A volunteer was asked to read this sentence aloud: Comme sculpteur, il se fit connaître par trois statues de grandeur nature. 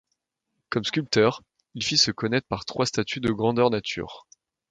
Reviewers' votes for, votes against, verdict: 0, 2, rejected